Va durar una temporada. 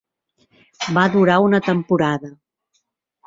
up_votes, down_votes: 3, 0